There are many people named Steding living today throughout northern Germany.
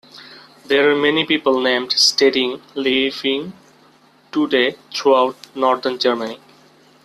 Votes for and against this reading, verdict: 0, 2, rejected